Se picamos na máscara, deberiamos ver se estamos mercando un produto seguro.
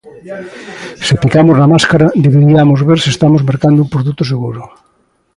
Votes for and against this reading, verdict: 1, 2, rejected